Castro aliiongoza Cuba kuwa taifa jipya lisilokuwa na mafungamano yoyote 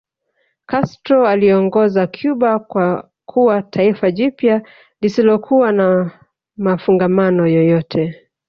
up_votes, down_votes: 0, 2